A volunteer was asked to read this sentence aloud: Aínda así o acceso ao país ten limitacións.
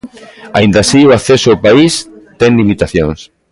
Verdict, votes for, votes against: rejected, 1, 2